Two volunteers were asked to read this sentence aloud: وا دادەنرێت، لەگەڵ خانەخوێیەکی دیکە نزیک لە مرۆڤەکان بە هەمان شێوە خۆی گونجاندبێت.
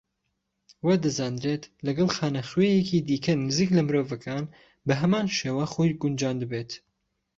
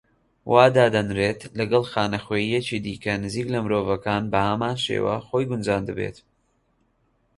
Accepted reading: second